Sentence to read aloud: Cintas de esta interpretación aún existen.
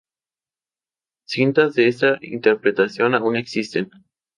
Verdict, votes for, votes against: accepted, 4, 0